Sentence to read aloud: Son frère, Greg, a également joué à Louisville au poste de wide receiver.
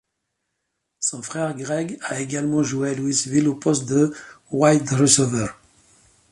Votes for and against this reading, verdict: 2, 0, accepted